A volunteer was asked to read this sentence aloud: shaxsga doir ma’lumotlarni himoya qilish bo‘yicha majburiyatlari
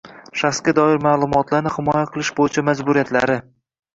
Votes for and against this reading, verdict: 2, 1, accepted